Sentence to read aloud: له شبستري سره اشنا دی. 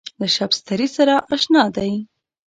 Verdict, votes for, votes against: accepted, 2, 0